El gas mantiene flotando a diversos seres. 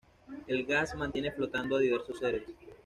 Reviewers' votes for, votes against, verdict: 2, 0, accepted